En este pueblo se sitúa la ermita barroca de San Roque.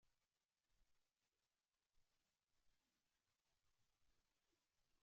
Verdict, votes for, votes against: rejected, 0, 2